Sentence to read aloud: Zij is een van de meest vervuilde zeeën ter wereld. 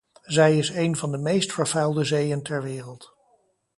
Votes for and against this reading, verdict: 2, 0, accepted